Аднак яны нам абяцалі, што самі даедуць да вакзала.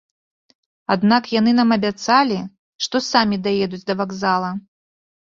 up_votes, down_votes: 2, 0